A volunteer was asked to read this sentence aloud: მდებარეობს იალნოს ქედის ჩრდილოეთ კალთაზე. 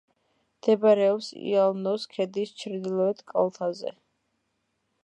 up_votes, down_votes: 3, 0